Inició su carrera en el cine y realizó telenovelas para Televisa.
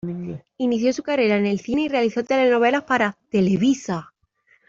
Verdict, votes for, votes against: accepted, 2, 0